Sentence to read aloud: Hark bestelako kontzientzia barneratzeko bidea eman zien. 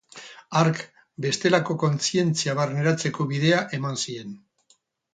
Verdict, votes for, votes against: rejected, 0, 2